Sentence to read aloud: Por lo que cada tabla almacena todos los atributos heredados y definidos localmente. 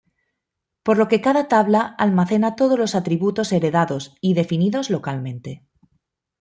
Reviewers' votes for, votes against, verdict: 2, 0, accepted